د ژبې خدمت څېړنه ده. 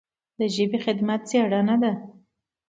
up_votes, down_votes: 2, 0